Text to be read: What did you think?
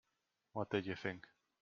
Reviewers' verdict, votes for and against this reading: accepted, 2, 0